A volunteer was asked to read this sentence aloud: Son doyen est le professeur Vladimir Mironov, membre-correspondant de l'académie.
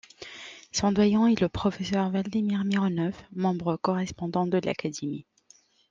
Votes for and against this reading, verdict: 1, 2, rejected